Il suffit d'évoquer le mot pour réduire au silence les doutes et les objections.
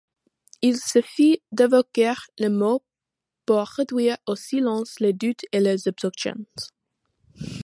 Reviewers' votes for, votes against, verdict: 2, 0, accepted